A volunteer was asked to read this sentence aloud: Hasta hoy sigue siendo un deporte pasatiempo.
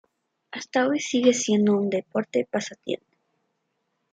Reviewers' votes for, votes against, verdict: 2, 0, accepted